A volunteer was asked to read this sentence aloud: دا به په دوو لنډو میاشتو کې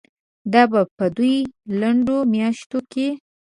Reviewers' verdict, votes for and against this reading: rejected, 1, 2